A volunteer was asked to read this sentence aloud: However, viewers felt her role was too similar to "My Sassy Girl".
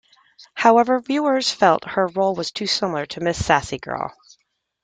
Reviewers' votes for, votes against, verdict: 0, 2, rejected